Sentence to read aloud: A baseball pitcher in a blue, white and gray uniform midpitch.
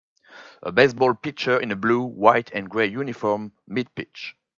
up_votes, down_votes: 5, 0